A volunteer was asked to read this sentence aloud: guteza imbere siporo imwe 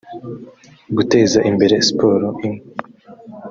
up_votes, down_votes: 3, 0